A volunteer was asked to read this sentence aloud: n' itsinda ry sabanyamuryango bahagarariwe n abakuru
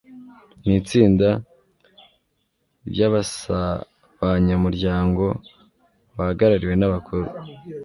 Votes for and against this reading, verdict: 2, 0, accepted